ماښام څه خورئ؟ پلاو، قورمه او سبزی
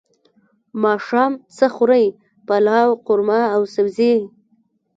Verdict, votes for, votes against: rejected, 0, 2